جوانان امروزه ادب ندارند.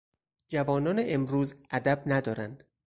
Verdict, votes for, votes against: rejected, 0, 4